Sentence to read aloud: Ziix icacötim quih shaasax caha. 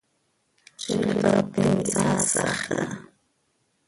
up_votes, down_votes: 0, 2